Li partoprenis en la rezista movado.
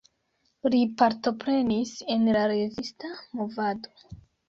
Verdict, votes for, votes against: rejected, 1, 2